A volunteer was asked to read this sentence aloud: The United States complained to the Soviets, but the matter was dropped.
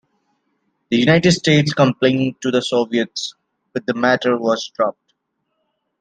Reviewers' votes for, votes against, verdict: 2, 0, accepted